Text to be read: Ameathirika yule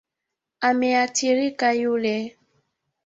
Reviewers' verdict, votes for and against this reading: accepted, 2, 1